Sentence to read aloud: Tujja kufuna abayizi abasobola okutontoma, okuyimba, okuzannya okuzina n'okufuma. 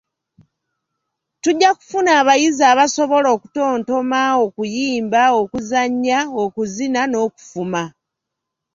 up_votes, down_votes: 2, 0